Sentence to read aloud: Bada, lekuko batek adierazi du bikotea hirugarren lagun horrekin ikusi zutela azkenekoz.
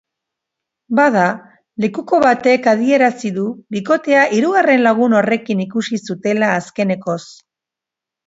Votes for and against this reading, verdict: 3, 0, accepted